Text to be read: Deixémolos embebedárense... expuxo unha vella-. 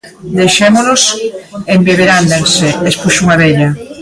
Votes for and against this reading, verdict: 0, 2, rejected